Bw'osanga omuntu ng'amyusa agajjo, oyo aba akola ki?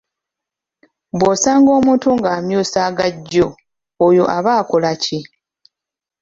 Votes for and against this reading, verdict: 2, 0, accepted